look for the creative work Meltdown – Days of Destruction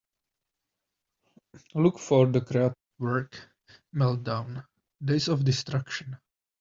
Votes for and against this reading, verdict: 0, 2, rejected